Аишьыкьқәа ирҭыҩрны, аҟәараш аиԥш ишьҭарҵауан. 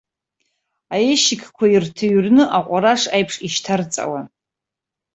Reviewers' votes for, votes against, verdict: 1, 2, rejected